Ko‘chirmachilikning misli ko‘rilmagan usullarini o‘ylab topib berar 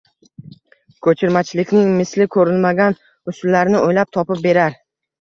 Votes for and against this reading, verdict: 2, 0, accepted